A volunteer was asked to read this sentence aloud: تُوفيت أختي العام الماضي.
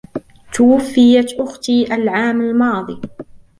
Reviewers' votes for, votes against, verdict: 1, 2, rejected